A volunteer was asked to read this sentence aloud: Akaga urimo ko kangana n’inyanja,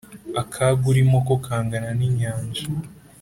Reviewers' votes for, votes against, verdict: 4, 0, accepted